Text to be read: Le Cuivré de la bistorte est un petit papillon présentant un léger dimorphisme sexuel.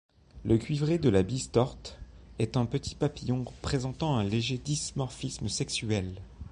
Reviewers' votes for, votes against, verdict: 2, 0, accepted